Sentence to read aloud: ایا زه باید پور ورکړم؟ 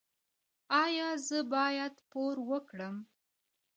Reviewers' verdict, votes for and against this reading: rejected, 0, 2